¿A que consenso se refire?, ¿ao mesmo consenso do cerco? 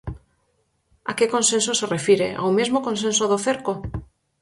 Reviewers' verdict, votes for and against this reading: accepted, 4, 0